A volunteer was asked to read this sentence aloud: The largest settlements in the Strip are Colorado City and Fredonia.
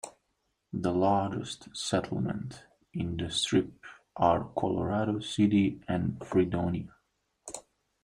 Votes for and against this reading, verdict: 1, 2, rejected